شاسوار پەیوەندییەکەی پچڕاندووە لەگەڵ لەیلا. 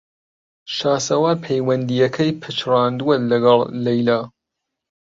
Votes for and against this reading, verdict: 1, 2, rejected